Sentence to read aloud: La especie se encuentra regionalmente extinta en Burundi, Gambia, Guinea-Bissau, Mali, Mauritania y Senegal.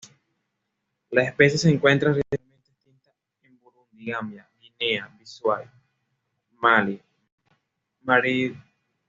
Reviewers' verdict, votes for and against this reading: rejected, 1, 2